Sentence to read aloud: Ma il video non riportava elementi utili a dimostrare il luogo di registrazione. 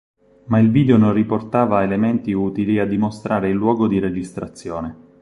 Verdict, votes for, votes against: accepted, 4, 0